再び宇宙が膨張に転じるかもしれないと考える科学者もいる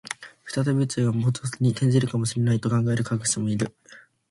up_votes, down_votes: 2, 1